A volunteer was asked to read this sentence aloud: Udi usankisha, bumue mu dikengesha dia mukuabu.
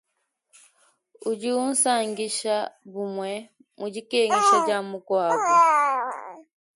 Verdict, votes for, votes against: rejected, 1, 2